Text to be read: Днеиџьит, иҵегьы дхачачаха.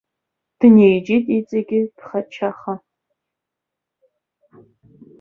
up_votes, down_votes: 0, 2